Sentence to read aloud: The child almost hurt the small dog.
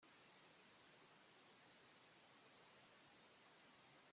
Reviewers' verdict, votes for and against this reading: rejected, 0, 2